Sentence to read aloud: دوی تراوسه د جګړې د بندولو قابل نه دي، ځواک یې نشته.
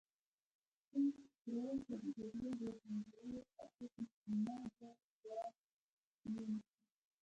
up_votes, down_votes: 2, 0